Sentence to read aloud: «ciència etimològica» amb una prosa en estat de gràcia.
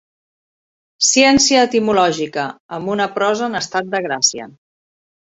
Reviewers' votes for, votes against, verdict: 4, 2, accepted